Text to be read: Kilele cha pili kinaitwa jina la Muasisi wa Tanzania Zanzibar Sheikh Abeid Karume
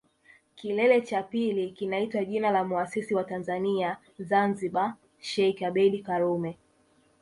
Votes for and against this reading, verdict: 4, 0, accepted